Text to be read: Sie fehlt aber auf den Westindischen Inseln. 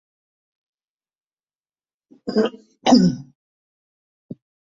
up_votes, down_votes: 0, 2